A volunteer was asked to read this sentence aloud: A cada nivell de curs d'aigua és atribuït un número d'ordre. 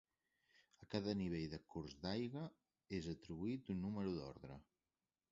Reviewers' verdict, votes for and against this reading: rejected, 1, 2